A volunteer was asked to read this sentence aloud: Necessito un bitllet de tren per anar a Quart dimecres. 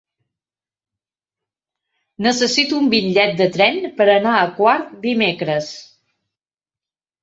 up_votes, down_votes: 3, 0